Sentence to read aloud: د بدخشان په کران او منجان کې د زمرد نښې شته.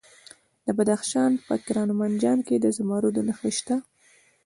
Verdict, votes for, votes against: accepted, 2, 0